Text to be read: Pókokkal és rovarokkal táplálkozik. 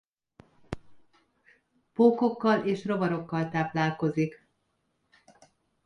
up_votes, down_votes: 2, 0